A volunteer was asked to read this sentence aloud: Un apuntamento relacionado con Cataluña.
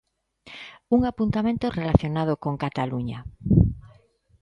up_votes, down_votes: 2, 0